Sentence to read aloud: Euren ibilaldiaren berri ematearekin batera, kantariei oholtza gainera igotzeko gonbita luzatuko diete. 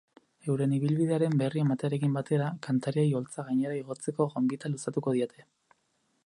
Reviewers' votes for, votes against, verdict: 0, 2, rejected